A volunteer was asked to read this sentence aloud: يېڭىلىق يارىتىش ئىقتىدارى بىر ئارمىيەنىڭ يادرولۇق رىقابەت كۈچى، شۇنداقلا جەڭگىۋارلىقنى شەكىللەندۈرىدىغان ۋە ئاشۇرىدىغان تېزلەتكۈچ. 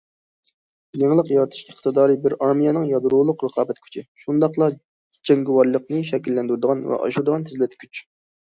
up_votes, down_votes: 2, 0